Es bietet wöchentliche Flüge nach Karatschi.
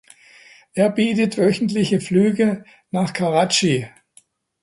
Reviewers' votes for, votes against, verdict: 1, 2, rejected